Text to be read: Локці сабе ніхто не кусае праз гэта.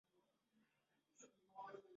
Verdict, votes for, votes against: rejected, 0, 3